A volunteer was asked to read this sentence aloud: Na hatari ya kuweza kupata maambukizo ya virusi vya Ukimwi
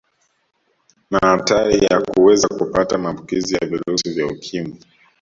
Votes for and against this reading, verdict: 2, 0, accepted